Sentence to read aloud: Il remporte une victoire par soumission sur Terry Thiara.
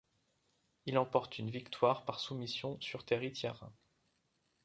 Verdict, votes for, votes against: rejected, 1, 2